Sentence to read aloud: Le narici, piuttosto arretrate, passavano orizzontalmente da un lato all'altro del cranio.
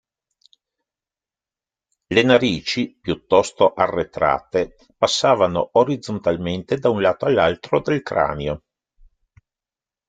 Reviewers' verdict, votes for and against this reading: accepted, 2, 0